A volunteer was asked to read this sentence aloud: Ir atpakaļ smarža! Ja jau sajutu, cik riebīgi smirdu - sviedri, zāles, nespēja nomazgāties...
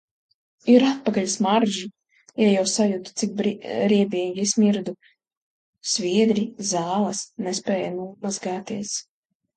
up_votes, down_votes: 1, 2